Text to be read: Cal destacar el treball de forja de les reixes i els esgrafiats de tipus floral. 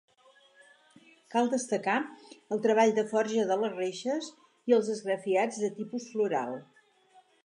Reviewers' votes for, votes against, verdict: 4, 0, accepted